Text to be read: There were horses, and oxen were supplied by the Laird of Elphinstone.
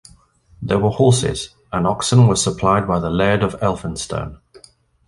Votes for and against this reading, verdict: 2, 0, accepted